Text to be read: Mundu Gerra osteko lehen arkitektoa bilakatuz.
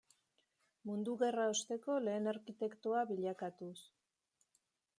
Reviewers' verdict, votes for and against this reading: accepted, 2, 0